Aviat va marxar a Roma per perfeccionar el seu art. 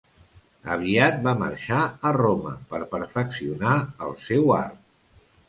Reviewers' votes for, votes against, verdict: 2, 0, accepted